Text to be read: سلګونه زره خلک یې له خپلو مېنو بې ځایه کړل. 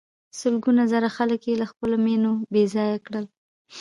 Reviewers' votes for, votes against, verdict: 0, 2, rejected